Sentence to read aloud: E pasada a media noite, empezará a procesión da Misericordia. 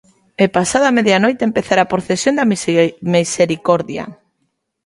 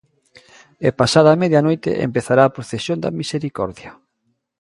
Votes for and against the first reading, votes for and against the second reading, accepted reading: 1, 2, 2, 0, second